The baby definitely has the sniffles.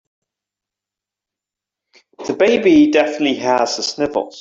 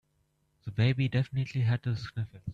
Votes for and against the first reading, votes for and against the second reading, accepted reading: 2, 0, 0, 2, first